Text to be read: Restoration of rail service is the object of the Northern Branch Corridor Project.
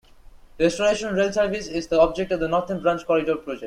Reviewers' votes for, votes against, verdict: 0, 3, rejected